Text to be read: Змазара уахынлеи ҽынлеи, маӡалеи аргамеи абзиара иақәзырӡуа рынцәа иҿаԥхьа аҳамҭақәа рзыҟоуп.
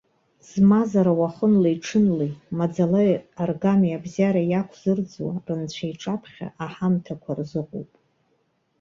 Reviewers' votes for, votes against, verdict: 1, 2, rejected